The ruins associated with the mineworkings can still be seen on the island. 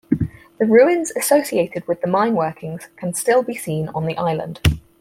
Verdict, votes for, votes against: accepted, 4, 0